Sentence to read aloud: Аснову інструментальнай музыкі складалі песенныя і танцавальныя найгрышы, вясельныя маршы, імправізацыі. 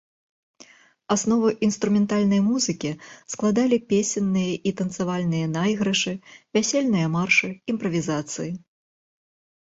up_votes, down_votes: 2, 0